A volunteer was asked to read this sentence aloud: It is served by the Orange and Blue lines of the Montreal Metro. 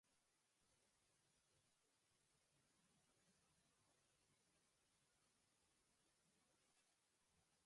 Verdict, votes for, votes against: rejected, 0, 2